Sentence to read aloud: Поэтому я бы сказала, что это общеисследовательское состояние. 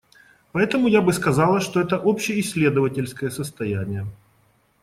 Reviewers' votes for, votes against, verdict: 2, 0, accepted